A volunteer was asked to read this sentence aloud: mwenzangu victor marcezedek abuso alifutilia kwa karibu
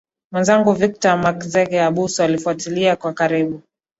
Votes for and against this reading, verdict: 1, 2, rejected